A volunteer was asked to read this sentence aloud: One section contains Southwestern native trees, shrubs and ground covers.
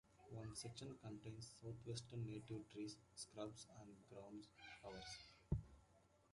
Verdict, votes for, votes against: rejected, 1, 2